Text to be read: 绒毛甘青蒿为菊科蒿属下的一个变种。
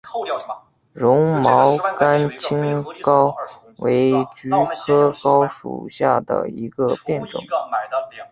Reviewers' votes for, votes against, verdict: 1, 2, rejected